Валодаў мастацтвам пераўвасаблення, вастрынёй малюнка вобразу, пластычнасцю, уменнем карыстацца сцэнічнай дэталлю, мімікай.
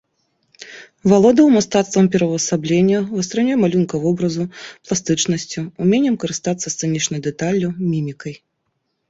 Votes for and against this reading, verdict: 2, 0, accepted